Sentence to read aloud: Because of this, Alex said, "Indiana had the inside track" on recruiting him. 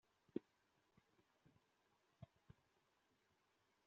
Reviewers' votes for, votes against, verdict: 0, 2, rejected